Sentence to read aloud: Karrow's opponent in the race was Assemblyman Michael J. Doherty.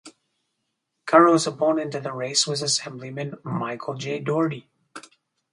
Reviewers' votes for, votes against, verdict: 0, 2, rejected